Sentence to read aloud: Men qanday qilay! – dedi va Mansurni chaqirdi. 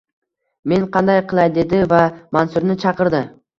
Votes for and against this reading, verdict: 2, 1, accepted